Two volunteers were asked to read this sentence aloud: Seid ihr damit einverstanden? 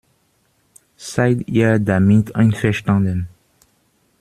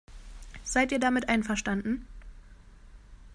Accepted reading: second